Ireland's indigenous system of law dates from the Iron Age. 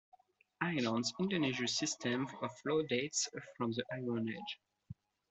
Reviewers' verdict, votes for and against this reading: rejected, 1, 2